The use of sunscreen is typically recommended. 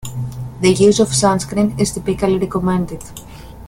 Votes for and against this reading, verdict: 2, 0, accepted